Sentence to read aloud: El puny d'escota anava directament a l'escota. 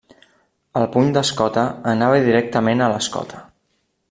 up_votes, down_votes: 3, 0